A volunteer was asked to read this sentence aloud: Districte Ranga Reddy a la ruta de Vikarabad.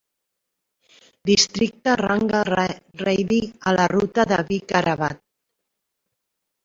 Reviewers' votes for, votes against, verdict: 1, 2, rejected